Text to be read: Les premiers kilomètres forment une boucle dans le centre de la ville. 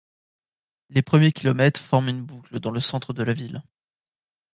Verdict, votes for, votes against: accepted, 2, 0